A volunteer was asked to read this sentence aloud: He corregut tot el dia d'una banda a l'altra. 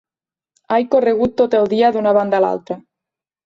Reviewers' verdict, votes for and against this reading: rejected, 0, 2